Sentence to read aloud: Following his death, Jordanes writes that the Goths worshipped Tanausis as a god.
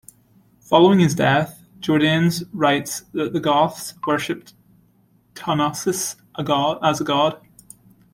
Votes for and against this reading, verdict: 1, 2, rejected